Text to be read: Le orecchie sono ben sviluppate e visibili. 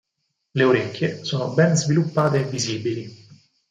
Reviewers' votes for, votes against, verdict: 6, 0, accepted